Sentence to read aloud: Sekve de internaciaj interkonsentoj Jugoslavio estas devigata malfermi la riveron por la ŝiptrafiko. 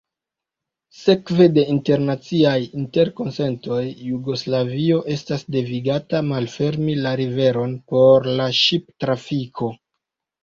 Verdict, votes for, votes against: accepted, 2, 1